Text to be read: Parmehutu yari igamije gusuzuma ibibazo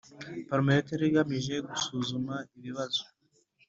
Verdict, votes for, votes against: accepted, 2, 0